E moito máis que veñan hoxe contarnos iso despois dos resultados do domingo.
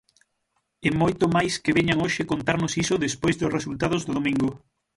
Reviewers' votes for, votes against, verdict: 3, 3, rejected